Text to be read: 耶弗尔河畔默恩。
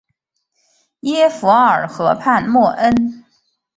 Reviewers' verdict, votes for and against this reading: accepted, 3, 0